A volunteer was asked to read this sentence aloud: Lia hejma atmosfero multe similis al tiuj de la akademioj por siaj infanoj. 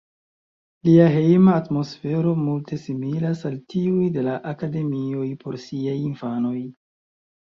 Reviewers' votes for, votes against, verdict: 1, 2, rejected